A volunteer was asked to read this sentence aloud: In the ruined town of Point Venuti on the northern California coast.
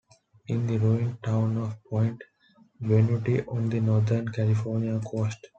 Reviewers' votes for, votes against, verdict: 2, 0, accepted